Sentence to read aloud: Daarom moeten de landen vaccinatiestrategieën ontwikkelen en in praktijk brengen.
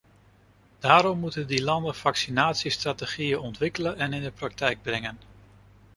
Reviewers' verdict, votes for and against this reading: rejected, 0, 2